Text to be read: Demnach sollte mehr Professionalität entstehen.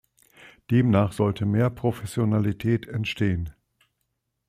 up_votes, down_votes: 2, 0